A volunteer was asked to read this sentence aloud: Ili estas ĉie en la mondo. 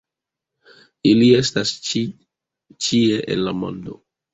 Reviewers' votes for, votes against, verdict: 2, 0, accepted